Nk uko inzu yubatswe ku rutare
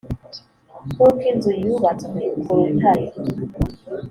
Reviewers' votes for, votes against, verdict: 3, 1, accepted